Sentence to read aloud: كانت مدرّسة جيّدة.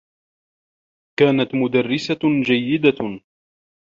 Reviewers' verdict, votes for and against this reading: rejected, 0, 2